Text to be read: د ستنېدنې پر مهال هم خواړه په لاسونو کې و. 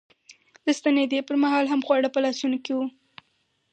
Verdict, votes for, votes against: rejected, 2, 2